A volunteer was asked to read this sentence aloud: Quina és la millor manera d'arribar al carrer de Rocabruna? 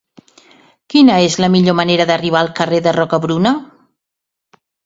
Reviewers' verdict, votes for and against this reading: accepted, 2, 0